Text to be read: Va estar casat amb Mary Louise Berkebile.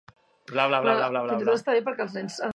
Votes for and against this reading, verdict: 0, 2, rejected